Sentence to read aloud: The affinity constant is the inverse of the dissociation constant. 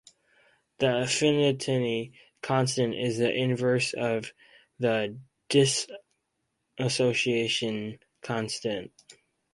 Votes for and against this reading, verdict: 0, 4, rejected